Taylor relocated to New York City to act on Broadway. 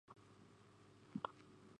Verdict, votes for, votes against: rejected, 0, 2